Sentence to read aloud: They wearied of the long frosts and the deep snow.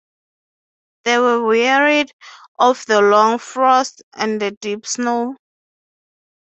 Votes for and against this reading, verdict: 0, 6, rejected